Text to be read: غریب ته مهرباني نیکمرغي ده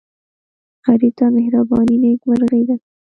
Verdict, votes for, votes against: accepted, 2, 0